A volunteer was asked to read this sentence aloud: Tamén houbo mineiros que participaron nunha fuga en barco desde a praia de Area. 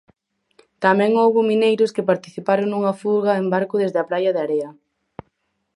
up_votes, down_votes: 4, 0